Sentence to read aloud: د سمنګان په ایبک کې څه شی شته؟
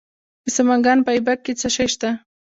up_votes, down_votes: 1, 2